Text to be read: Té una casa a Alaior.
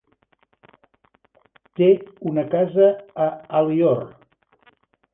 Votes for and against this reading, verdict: 1, 3, rejected